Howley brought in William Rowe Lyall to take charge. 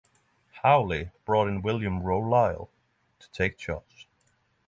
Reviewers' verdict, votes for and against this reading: accepted, 6, 0